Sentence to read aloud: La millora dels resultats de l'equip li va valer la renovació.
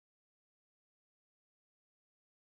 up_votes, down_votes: 0, 2